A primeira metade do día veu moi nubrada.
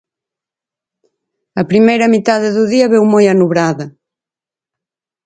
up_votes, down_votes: 0, 4